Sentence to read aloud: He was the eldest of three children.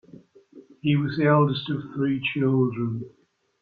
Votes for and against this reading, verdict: 2, 0, accepted